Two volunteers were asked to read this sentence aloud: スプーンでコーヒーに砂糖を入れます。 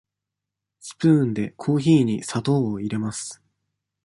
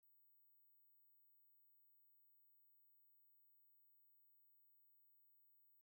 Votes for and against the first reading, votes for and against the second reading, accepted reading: 2, 0, 0, 2, first